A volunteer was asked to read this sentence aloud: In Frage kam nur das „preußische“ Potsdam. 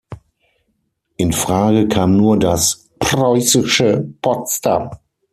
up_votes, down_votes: 3, 6